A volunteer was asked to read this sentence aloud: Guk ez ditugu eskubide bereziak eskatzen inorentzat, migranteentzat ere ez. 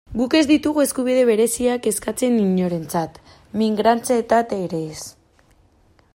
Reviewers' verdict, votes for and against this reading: rejected, 0, 2